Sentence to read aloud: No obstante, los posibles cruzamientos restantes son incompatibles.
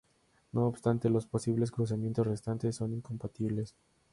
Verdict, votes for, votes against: rejected, 0, 2